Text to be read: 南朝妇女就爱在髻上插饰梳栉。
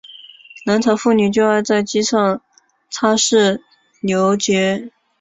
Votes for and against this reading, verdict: 2, 3, rejected